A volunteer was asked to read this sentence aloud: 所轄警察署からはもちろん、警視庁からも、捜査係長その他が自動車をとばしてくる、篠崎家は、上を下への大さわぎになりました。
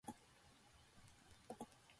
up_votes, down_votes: 0, 2